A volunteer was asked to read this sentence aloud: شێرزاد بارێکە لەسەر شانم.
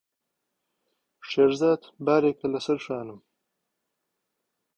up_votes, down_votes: 3, 0